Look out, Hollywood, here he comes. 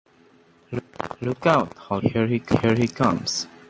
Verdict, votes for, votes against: rejected, 0, 2